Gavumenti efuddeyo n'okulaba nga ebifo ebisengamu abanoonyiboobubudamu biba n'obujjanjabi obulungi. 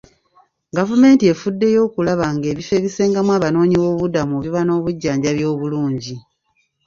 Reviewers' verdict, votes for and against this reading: rejected, 0, 2